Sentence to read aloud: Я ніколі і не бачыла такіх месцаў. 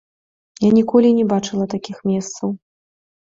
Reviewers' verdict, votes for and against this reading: accepted, 2, 0